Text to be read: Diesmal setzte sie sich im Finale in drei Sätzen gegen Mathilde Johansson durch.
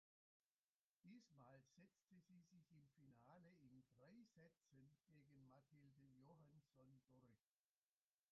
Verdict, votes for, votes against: rejected, 0, 2